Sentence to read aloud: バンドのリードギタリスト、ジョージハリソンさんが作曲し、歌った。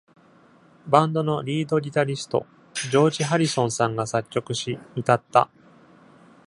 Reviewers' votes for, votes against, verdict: 2, 0, accepted